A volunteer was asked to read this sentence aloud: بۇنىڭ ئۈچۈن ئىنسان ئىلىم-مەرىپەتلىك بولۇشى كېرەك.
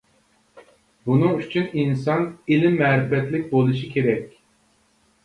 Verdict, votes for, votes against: accepted, 2, 0